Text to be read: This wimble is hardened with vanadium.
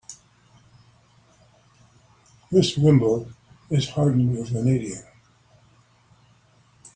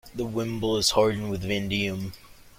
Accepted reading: first